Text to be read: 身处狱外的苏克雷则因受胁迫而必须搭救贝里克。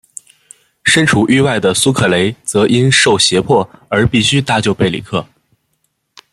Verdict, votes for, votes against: accepted, 2, 0